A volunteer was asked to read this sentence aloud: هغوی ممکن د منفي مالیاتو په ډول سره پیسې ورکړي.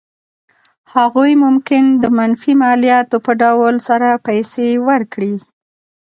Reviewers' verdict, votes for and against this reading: accepted, 3, 1